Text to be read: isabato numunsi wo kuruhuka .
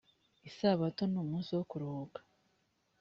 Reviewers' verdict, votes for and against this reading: accepted, 3, 0